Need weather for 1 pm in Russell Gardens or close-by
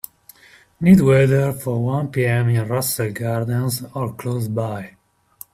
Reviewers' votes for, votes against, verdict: 0, 2, rejected